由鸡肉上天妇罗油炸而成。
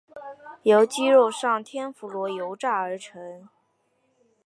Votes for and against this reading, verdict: 2, 0, accepted